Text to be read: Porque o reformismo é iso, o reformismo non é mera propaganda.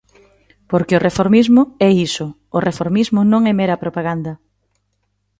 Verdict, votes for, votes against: accepted, 2, 0